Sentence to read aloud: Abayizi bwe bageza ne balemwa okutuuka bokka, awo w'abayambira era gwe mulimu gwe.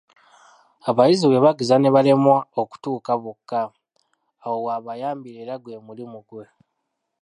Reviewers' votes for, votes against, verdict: 0, 2, rejected